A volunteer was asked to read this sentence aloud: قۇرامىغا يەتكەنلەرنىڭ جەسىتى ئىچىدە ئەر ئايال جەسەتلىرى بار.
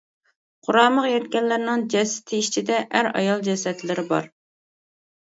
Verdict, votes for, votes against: accepted, 2, 0